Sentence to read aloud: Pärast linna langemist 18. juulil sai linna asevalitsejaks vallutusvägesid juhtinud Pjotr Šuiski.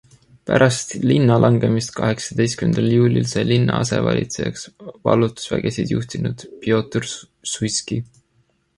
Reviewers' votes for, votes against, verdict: 0, 2, rejected